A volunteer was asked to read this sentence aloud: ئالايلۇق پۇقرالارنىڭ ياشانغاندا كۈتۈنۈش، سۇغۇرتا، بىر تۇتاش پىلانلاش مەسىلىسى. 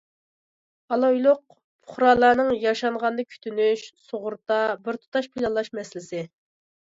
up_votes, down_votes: 2, 0